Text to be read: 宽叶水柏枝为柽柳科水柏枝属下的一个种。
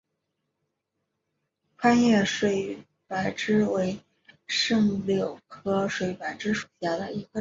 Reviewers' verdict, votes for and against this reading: rejected, 0, 2